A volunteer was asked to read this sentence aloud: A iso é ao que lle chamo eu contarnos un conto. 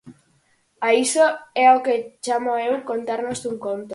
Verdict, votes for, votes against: rejected, 0, 4